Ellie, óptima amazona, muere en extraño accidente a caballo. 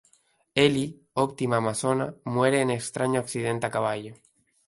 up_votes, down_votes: 0, 2